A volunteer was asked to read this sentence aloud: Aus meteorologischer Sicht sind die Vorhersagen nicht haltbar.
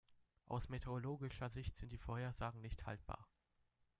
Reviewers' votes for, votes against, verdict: 1, 2, rejected